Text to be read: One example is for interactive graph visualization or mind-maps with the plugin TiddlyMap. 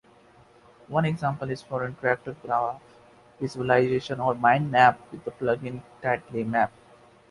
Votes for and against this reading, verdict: 2, 0, accepted